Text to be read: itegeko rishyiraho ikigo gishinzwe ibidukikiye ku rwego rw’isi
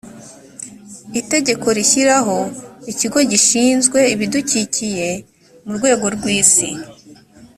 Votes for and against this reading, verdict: 2, 0, accepted